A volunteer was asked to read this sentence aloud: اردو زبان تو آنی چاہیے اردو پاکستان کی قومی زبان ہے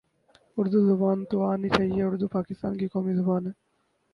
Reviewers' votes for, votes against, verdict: 0, 4, rejected